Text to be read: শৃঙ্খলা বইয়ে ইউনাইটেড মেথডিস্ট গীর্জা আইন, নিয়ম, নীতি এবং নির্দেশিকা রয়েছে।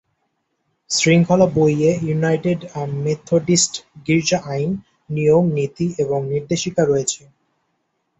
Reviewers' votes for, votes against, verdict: 0, 2, rejected